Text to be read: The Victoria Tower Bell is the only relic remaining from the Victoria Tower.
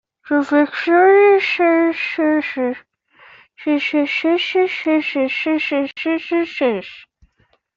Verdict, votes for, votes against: rejected, 0, 2